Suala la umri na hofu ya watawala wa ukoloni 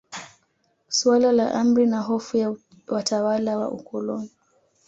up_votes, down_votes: 2, 1